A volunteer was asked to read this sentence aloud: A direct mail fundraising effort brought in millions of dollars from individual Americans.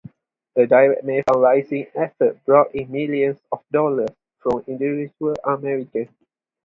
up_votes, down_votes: 0, 2